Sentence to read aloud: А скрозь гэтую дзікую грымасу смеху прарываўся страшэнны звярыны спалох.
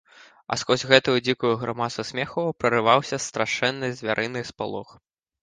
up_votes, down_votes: 0, 2